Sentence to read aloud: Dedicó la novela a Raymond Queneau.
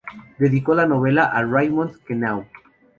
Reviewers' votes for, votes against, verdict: 2, 0, accepted